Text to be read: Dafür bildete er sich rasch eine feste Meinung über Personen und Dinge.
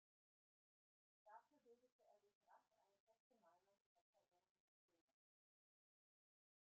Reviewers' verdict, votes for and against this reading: rejected, 0, 2